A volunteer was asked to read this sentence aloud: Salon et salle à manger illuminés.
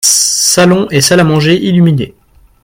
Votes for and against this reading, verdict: 2, 0, accepted